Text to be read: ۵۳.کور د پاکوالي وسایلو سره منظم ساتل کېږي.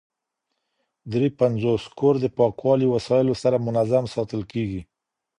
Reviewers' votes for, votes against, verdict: 0, 2, rejected